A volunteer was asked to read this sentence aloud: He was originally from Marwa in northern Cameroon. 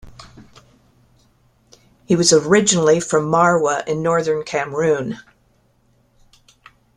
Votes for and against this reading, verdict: 2, 1, accepted